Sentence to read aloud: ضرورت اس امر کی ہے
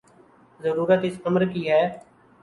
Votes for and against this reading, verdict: 13, 1, accepted